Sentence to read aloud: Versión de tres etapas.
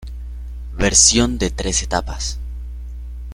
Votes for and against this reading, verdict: 1, 2, rejected